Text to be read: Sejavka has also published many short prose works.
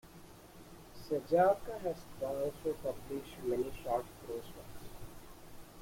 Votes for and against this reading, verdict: 1, 2, rejected